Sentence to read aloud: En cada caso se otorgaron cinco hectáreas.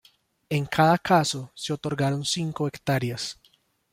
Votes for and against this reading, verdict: 2, 1, accepted